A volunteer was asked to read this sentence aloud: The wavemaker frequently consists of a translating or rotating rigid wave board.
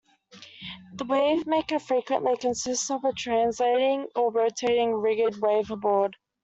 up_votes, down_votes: 2, 0